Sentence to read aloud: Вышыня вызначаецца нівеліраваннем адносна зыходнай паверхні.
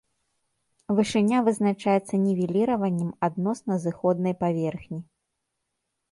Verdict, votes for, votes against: rejected, 0, 2